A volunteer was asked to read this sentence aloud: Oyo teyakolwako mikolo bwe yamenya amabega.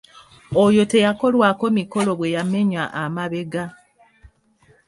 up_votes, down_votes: 2, 0